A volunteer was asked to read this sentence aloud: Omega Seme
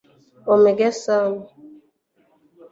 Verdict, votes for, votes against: rejected, 0, 2